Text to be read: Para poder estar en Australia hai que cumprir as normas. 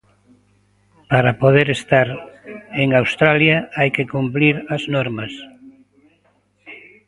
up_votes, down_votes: 1, 2